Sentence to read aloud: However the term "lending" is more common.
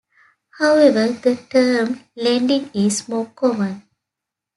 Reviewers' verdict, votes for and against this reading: accepted, 2, 0